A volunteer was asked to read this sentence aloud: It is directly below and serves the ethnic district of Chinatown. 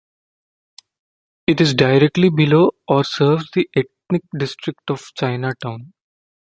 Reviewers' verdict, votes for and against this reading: rejected, 1, 2